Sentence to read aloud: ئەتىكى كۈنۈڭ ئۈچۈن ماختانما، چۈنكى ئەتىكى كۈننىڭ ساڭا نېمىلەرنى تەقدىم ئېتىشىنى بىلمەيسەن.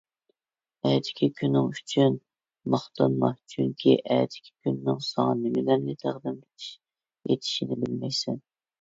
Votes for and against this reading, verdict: 1, 2, rejected